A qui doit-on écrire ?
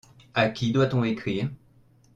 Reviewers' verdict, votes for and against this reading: accepted, 2, 0